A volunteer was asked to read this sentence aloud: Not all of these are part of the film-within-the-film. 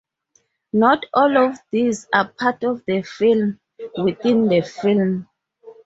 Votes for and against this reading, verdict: 4, 0, accepted